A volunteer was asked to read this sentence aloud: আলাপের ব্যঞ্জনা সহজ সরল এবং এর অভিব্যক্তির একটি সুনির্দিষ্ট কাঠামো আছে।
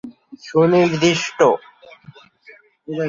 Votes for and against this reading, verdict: 0, 2, rejected